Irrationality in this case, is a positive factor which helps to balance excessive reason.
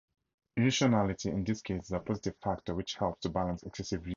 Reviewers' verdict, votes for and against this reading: rejected, 0, 2